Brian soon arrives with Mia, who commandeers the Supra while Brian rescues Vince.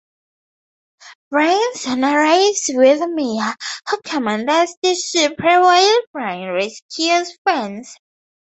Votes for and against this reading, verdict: 2, 0, accepted